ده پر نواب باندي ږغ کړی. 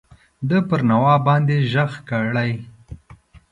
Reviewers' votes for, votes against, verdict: 2, 0, accepted